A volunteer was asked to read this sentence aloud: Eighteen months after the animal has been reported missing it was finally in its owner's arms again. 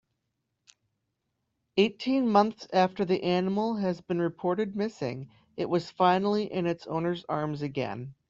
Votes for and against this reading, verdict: 2, 0, accepted